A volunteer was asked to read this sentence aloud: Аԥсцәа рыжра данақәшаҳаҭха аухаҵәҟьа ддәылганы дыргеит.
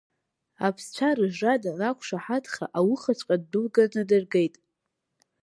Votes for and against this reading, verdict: 2, 1, accepted